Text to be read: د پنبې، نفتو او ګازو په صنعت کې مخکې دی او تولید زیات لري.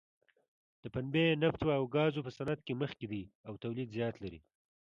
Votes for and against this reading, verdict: 2, 0, accepted